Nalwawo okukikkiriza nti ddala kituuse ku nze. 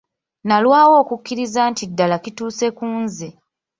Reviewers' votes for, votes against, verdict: 2, 0, accepted